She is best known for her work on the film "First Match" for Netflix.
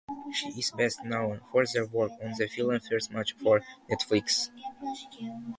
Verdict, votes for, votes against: rejected, 0, 2